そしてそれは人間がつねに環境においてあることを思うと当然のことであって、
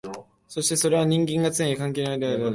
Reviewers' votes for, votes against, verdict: 0, 5, rejected